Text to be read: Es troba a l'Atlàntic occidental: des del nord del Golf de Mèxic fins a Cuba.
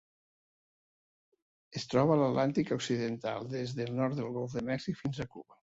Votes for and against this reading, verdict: 2, 0, accepted